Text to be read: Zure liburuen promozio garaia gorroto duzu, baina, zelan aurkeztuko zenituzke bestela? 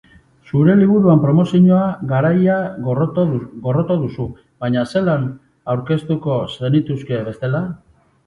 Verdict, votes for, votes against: rejected, 0, 2